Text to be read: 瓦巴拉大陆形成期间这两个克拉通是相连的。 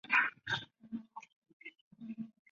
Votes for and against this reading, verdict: 0, 2, rejected